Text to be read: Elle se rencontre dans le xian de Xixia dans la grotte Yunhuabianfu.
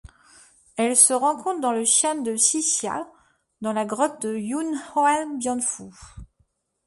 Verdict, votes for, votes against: accepted, 2, 0